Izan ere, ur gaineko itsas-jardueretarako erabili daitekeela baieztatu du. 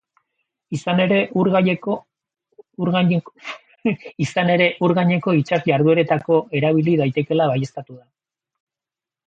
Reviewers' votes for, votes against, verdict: 0, 4, rejected